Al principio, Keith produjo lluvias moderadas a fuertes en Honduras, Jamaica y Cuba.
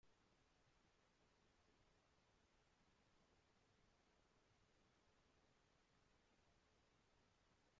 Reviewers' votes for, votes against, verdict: 0, 2, rejected